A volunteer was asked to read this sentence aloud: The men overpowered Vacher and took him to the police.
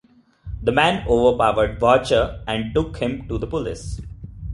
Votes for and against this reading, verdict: 1, 2, rejected